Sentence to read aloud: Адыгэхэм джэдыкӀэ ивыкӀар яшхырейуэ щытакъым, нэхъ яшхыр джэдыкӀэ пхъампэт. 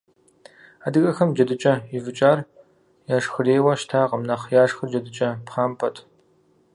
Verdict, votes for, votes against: accepted, 2, 0